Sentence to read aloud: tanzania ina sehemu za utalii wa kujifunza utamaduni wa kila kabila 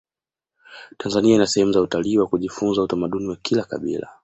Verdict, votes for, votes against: accepted, 2, 0